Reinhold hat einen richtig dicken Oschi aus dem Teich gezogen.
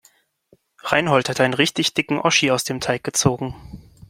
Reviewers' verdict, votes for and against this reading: rejected, 0, 3